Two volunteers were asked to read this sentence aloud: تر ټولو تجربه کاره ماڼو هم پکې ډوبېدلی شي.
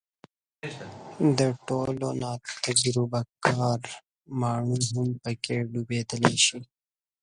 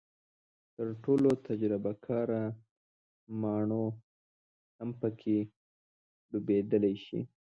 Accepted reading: second